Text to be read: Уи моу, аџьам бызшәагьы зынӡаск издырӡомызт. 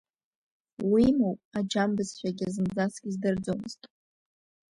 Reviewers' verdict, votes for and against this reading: rejected, 1, 2